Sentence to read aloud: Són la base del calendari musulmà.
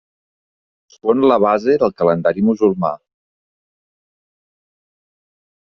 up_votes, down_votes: 1, 2